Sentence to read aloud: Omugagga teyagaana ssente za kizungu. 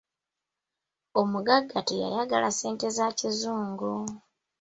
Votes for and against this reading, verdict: 0, 2, rejected